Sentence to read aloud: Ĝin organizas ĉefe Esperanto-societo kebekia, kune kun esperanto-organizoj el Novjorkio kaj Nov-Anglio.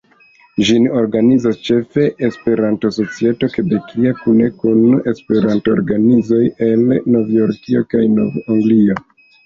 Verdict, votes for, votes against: accepted, 2, 1